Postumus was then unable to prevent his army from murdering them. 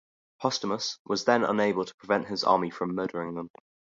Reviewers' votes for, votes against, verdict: 2, 0, accepted